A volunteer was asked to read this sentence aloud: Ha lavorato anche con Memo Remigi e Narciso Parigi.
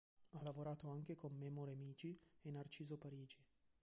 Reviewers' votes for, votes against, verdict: 1, 2, rejected